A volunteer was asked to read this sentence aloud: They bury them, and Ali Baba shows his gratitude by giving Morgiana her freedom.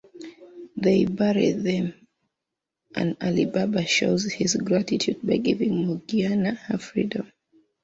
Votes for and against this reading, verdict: 2, 0, accepted